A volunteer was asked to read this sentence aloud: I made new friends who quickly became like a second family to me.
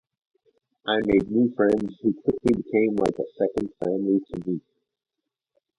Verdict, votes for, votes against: rejected, 2, 2